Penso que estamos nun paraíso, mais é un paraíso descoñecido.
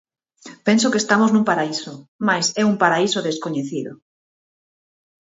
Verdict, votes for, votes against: accepted, 6, 0